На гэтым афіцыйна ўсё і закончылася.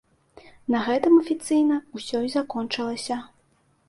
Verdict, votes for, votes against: accepted, 2, 0